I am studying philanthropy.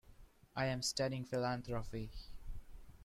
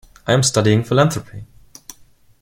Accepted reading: second